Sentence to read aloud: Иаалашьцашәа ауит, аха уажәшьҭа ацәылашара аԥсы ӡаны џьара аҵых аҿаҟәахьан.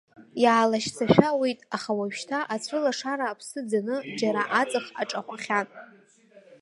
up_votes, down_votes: 1, 3